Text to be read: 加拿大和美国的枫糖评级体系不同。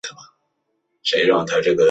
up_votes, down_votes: 0, 2